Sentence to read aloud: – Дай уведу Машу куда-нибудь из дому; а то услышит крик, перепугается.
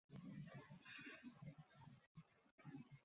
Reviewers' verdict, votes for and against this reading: rejected, 0, 2